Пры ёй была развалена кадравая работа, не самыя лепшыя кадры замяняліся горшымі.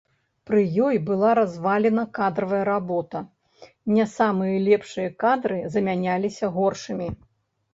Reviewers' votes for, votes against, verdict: 0, 2, rejected